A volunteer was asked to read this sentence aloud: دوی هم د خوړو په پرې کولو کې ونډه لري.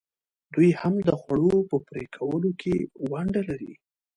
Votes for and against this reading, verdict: 2, 1, accepted